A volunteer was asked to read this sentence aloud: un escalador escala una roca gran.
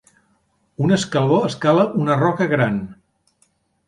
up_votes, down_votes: 1, 2